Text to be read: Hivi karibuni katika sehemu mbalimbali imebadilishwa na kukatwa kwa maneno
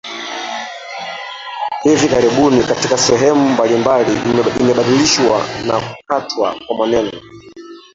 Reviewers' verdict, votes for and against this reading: rejected, 0, 2